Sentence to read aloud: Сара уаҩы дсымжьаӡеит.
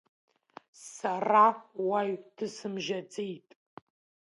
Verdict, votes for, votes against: accepted, 2, 0